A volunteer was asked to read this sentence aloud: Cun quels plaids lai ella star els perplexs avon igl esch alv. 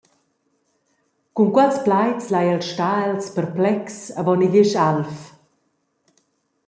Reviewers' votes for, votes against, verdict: 0, 2, rejected